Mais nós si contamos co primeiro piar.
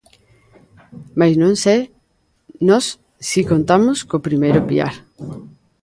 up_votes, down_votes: 0, 2